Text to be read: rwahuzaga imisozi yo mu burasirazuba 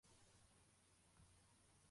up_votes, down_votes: 0, 2